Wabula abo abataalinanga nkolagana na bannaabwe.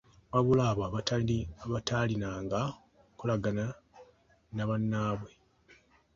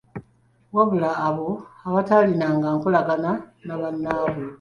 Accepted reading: first